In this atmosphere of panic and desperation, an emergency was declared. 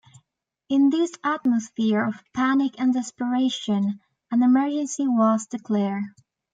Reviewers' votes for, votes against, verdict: 1, 2, rejected